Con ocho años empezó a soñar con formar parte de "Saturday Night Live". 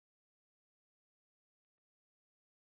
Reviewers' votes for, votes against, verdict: 0, 2, rejected